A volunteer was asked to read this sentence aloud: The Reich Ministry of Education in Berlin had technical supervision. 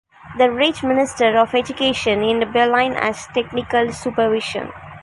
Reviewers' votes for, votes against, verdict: 0, 2, rejected